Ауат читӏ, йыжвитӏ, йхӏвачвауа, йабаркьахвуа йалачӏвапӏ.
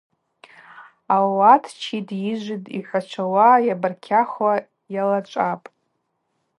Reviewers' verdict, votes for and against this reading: accepted, 2, 0